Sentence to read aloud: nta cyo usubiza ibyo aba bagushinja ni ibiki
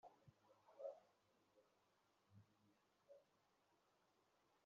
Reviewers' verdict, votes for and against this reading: rejected, 0, 2